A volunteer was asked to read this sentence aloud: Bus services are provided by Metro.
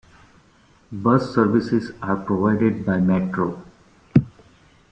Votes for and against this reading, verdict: 2, 0, accepted